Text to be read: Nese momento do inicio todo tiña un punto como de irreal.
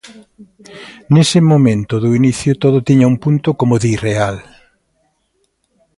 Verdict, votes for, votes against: rejected, 0, 2